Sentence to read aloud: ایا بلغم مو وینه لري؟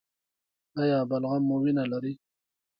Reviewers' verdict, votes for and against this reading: accepted, 2, 1